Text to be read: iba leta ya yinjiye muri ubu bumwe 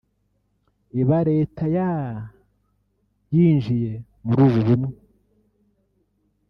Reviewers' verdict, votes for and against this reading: rejected, 0, 2